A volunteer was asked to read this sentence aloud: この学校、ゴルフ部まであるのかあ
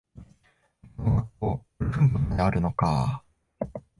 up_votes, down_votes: 1, 2